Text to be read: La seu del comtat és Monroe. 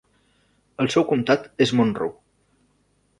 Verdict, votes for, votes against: rejected, 0, 2